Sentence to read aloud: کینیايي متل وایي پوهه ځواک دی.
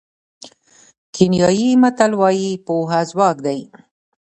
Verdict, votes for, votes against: rejected, 0, 2